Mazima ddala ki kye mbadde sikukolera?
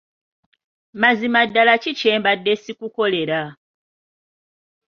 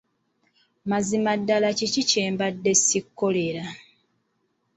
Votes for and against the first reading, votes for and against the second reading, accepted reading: 2, 0, 1, 2, first